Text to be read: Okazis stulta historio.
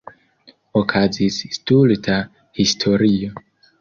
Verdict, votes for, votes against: rejected, 1, 2